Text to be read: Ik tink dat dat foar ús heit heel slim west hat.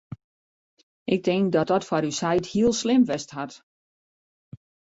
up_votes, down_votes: 2, 1